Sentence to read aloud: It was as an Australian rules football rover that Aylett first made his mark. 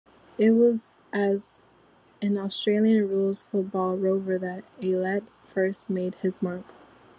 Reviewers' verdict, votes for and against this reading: accepted, 2, 0